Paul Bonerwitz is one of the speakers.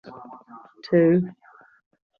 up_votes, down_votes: 0, 3